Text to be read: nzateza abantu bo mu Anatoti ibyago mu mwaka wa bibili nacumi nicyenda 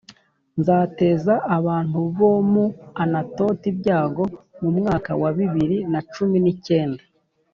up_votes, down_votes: 1, 2